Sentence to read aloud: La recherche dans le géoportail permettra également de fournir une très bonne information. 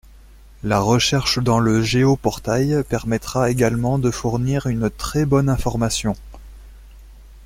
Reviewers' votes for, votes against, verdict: 2, 1, accepted